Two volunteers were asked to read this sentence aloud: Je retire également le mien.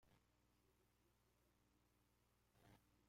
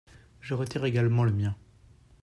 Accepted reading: second